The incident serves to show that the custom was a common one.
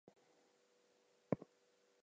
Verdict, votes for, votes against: rejected, 0, 4